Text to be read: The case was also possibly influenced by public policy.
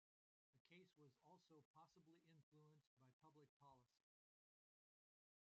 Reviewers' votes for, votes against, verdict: 0, 2, rejected